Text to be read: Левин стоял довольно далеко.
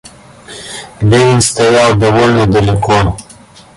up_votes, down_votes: 2, 1